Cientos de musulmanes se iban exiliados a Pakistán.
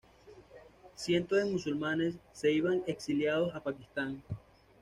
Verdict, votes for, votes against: accepted, 2, 0